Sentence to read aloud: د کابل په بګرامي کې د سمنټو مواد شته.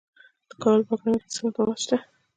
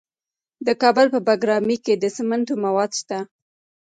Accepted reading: second